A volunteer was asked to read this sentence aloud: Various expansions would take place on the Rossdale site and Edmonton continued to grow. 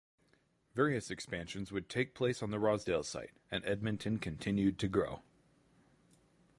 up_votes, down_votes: 8, 0